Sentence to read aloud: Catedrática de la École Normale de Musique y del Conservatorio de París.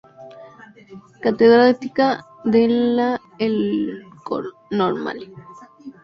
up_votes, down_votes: 0, 2